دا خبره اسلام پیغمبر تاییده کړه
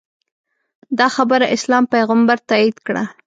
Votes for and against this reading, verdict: 2, 0, accepted